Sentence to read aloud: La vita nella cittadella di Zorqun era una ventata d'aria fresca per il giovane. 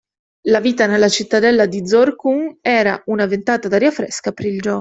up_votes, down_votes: 1, 2